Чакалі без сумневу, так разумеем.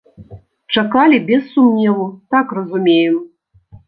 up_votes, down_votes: 1, 2